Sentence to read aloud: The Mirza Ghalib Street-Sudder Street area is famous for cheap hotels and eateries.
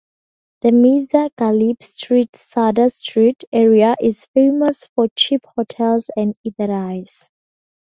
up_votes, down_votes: 0, 4